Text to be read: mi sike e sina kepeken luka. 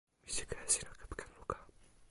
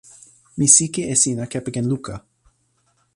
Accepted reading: second